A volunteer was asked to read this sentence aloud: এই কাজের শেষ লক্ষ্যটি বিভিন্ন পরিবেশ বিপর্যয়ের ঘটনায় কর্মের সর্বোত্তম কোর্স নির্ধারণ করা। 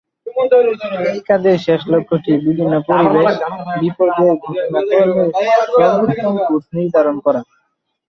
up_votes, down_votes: 0, 3